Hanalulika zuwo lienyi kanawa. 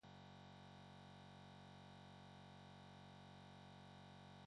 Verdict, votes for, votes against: rejected, 0, 2